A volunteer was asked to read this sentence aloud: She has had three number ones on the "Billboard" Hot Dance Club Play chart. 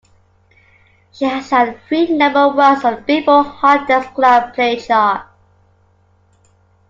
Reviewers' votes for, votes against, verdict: 2, 1, accepted